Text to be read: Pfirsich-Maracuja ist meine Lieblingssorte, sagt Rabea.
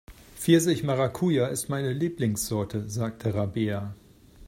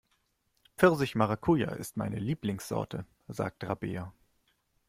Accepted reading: second